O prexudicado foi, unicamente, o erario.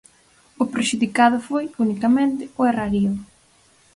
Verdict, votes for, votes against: rejected, 2, 4